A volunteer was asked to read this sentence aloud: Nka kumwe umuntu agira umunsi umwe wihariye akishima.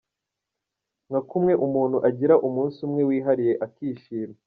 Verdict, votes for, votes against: accepted, 2, 0